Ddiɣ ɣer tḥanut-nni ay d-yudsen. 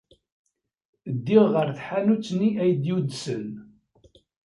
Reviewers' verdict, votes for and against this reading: accepted, 2, 0